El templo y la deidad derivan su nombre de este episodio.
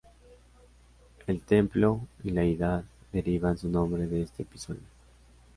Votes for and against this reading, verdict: 0, 2, rejected